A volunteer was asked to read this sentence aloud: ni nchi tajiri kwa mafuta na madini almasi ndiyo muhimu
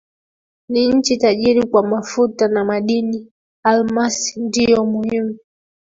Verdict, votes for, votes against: rejected, 0, 2